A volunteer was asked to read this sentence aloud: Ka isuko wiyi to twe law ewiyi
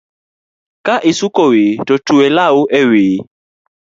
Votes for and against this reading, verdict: 2, 0, accepted